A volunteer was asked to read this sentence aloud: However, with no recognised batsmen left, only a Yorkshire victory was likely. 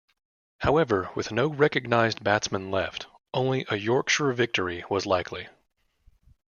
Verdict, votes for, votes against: accepted, 2, 0